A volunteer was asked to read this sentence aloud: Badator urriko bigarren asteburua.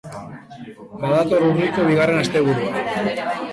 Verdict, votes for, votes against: rejected, 2, 3